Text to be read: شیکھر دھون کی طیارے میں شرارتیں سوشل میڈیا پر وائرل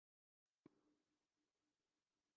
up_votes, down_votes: 2, 4